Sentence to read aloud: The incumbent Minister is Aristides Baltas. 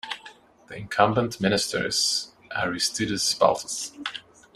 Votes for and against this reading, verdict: 1, 2, rejected